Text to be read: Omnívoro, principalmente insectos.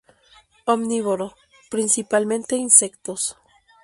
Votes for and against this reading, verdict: 2, 0, accepted